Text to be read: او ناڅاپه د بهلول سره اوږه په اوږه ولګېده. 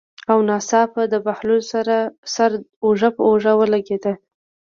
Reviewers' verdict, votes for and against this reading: accepted, 2, 0